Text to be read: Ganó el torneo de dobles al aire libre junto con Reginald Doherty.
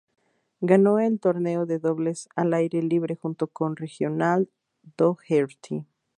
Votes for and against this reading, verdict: 0, 2, rejected